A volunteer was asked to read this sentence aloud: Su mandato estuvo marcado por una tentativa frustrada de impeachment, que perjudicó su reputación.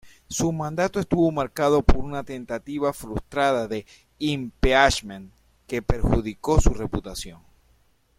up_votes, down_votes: 2, 0